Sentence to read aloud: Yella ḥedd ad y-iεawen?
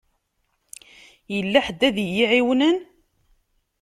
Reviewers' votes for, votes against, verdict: 0, 2, rejected